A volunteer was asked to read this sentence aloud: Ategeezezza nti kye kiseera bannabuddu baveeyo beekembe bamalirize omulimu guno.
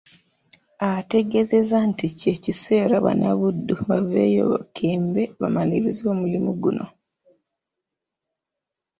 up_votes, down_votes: 1, 2